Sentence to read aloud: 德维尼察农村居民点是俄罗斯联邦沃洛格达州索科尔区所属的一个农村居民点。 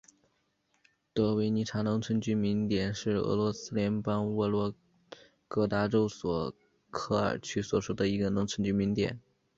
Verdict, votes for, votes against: accepted, 4, 0